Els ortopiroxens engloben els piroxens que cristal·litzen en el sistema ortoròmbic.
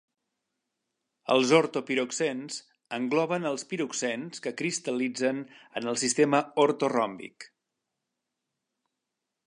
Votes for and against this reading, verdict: 4, 0, accepted